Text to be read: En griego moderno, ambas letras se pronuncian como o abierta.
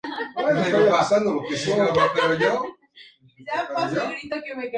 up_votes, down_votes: 0, 2